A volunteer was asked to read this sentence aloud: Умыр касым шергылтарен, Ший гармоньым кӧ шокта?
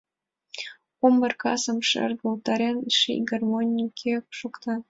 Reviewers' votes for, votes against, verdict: 2, 3, rejected